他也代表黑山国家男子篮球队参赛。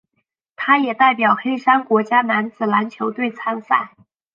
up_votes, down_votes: 2, 0